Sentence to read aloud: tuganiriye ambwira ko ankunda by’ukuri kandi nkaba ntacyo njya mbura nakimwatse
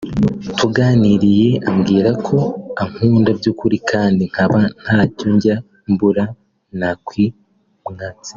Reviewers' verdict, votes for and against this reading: accepted, 2, 0